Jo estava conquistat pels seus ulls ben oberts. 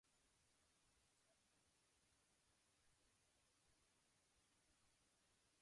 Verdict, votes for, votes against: rejected, 0, 2